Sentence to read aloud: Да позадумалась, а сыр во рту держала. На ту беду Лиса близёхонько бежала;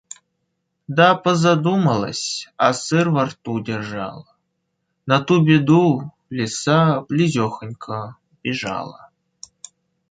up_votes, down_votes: 2, 0